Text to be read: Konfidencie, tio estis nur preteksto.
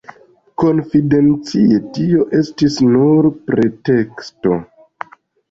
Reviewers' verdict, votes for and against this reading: rejected, 1, 2